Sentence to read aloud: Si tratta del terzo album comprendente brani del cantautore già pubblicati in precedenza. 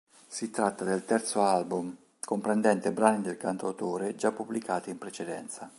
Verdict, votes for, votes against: accepted, 2, 0